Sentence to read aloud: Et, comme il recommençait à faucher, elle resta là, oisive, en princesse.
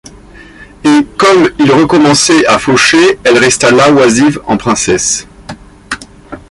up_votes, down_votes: 2, 0